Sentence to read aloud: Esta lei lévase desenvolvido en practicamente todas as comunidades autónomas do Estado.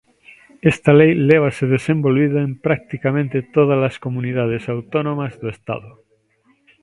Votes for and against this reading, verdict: 2, 1, accepted